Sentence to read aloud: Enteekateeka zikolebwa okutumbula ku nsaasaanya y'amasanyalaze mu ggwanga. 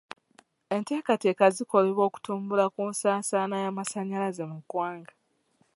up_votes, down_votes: 2, 0